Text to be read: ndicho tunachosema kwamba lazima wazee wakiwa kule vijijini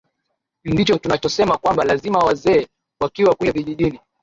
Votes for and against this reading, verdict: 3, 0, accepted